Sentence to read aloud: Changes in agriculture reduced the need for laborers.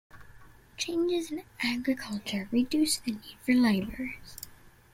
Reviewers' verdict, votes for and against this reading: rejected, 1, 2